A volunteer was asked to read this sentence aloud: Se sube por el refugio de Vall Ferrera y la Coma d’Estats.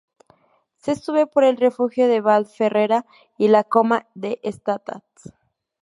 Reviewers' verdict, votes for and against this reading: rejected, 0, 2